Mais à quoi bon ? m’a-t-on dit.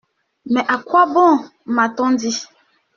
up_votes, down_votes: 2, 0